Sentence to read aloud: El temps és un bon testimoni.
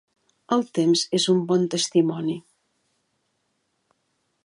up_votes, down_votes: 3, 0